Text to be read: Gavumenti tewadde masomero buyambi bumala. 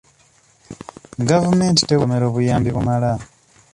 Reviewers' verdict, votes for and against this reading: rejected, 1, 2